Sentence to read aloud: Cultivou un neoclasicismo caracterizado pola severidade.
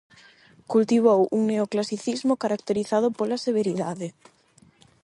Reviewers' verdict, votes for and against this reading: accepted, 8, 0